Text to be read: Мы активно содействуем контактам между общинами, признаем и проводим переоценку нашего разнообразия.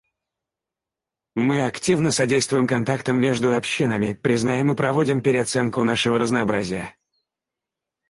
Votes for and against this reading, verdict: 2, 4, rejected